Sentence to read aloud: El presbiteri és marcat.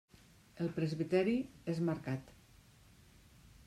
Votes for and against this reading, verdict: 3, 0, accepted